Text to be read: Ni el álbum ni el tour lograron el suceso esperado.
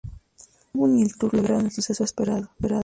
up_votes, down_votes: 0, 2